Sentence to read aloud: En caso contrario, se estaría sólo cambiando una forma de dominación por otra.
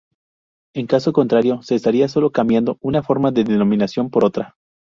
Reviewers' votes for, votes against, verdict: 2, 2, rejected